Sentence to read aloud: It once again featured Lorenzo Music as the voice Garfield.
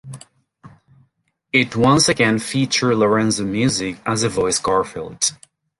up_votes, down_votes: 0, 2